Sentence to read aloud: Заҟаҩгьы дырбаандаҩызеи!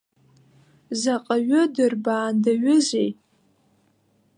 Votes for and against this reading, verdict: 0, 2, rejected